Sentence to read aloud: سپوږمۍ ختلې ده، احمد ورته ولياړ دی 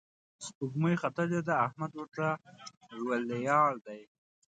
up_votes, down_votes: 0, 2